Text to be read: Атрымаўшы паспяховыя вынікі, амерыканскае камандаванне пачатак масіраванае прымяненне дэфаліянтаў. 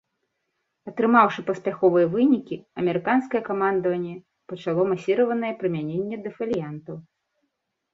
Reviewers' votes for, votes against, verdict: 0, 2, rejected